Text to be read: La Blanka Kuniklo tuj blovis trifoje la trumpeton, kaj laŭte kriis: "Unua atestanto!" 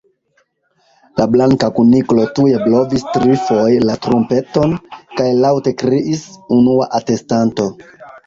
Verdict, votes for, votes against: accepted, 2, 1